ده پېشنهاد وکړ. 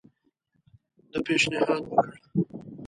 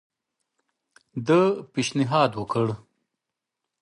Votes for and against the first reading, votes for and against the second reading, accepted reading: 0, 2, 2, 0, second